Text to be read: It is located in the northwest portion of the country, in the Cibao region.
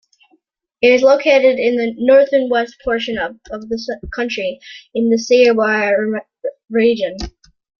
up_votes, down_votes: 0, 2